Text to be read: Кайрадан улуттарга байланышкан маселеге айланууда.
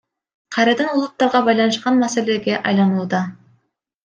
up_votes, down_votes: 2, 0